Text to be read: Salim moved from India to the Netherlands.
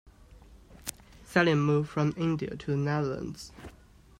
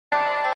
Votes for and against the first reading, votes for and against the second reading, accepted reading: 2, 0, 0, 2, first